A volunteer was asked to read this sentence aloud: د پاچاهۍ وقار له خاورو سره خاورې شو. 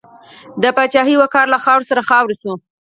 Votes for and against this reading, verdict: 4, 0, accepted